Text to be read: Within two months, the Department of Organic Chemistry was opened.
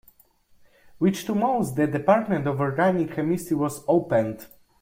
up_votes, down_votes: 0, 2